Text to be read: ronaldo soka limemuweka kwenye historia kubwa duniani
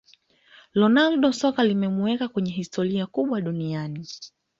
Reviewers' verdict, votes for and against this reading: accepted, 2, 0